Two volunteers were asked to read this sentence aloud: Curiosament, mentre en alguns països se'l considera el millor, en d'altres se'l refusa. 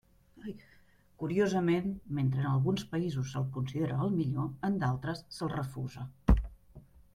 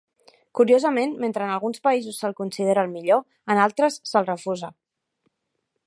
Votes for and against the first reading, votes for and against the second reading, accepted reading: 3, 0, 0, 2, first